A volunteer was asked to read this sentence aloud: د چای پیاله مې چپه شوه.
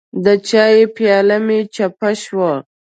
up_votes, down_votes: 2, 0